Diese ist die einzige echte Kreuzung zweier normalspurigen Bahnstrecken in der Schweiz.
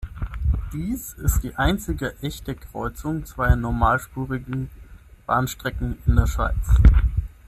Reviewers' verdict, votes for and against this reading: rejected, 0, 6